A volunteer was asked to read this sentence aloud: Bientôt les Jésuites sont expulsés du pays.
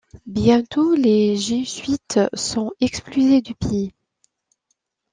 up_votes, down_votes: 1, 2